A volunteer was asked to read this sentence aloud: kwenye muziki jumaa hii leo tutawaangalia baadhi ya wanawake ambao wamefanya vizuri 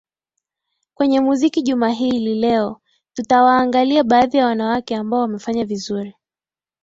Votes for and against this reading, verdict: 13, 0, accepted